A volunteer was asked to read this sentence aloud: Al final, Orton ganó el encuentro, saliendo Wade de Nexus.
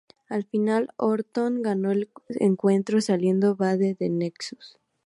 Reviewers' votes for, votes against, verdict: 0, 2, rejected